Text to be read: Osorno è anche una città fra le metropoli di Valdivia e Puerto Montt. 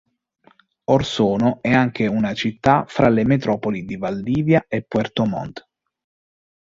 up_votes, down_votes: 1, 2